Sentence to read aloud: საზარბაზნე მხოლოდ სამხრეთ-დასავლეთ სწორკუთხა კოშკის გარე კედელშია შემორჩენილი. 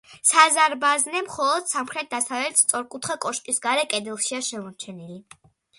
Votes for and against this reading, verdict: 2, 0, accepted